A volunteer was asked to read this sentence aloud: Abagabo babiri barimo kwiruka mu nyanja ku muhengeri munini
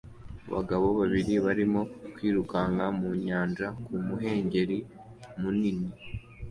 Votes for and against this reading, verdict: 2, 0, accepted